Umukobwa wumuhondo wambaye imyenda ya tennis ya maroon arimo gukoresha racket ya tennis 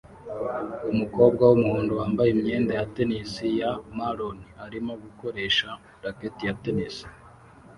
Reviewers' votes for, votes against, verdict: 2, 0, accepted